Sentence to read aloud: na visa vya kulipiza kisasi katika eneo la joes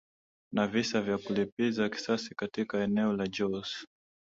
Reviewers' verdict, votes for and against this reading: accepted, 4, 0